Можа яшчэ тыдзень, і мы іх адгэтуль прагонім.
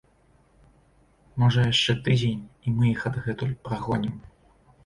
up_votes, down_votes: 2, 0